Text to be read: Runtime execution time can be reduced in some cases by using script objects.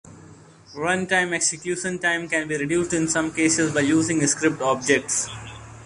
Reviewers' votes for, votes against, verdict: 0, 2, rejected